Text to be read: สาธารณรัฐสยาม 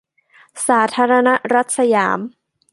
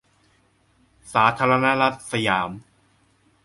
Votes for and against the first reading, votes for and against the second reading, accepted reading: 2, 0, 1, 2, first